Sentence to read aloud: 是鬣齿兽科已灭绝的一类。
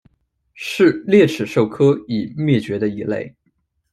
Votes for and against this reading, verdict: 2, 0, accepted